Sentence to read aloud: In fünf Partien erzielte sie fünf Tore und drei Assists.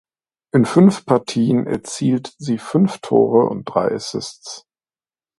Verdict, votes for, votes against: rejected, 1, 2